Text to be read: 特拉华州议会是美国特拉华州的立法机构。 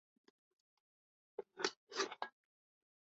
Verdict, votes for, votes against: rejected, 0, 3